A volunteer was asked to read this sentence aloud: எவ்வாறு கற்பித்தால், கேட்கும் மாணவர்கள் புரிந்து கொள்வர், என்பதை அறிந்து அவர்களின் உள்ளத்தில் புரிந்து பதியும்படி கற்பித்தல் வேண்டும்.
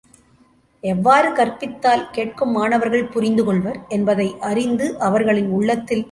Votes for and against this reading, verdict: 0, 2, rejected